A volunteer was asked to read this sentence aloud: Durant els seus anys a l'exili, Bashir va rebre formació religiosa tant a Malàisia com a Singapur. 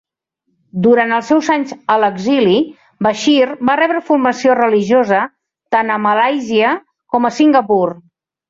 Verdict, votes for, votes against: accepted, 2, 0